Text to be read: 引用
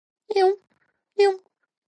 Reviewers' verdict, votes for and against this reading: rejected, 1, 2